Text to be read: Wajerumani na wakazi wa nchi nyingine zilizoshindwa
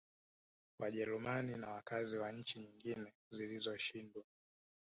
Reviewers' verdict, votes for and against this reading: accepted, 2, 0